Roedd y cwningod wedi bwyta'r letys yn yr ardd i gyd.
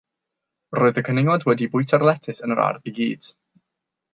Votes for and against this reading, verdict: 6, 0, accepted